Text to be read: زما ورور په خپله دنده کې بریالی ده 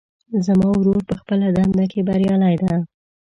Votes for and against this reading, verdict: 2, 0, accepted